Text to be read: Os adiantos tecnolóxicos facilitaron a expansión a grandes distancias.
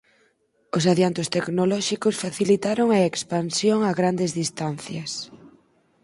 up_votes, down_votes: 4, 0